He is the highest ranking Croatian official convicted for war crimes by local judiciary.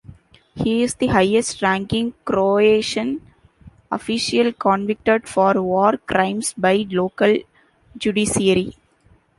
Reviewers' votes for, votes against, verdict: 2, 0, accepted